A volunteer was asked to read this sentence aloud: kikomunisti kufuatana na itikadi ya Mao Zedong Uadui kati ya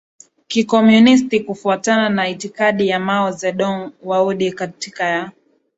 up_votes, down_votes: 8, 2